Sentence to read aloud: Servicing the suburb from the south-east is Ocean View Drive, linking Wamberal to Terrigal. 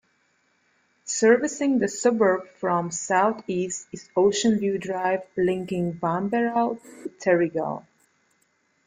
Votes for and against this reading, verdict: 2, 0, accepted